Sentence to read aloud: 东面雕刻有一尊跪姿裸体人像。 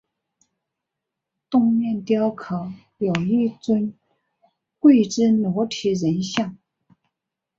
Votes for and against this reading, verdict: 3, 0, accepted